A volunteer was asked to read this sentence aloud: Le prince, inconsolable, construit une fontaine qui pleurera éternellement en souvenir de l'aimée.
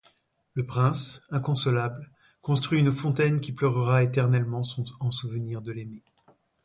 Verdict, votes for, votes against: rejected, 1, 2